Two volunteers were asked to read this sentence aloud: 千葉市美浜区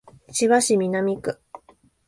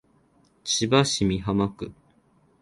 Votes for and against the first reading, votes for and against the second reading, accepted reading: 1, 2, 26, 2, second